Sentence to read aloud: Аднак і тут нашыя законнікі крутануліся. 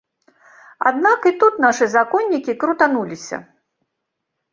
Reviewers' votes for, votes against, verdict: 1, 2, rejected